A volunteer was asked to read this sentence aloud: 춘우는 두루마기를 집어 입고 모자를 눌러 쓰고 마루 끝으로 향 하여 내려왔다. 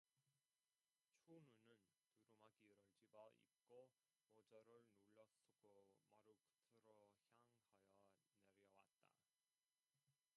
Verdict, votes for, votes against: rejected, 0, 2